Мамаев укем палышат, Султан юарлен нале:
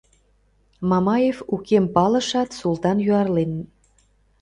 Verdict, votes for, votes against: rejected, 1, 2